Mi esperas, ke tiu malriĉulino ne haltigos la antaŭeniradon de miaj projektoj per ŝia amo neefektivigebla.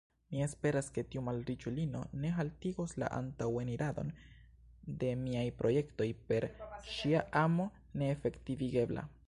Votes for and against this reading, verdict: 1, 2, rejected